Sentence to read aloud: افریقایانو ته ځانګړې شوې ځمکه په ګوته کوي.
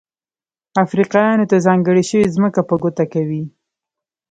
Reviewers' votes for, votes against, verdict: 0, 2, rejected